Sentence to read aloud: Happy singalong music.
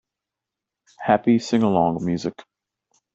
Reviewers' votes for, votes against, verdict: 2, 0, accepted